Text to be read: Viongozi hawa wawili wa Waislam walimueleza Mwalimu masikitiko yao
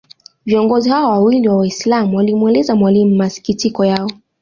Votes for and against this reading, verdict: 2, 0, accepted